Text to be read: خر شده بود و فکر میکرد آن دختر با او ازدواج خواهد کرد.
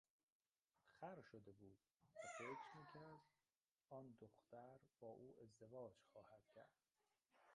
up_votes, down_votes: 0, 2